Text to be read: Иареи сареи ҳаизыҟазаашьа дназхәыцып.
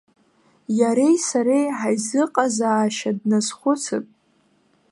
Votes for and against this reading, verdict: 0, 2, rejected